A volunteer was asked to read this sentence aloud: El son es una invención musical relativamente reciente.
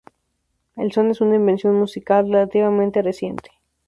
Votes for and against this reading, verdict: 2, 0, accepted